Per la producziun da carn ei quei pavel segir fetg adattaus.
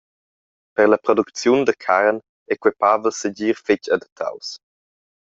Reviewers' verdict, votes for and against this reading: accepted, 2, 0